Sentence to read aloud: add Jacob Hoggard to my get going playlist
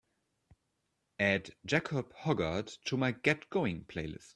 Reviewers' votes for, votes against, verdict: 2, 0, accepted